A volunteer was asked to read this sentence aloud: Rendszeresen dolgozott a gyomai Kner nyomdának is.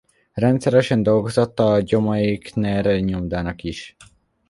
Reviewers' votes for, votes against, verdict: 0, 2, rejected